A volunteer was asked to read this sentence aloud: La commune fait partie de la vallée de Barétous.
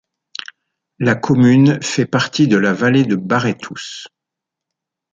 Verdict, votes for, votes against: accepted, 2, 0